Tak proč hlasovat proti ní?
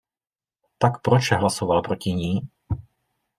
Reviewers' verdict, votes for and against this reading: rejected, 0, 2